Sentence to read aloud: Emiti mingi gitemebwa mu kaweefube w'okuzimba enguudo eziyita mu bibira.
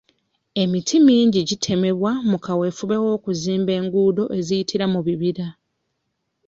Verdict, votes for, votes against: rejected, 0, 2